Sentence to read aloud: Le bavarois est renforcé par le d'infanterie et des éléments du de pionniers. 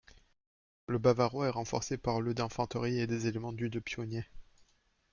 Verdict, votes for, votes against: rejected, 1, 2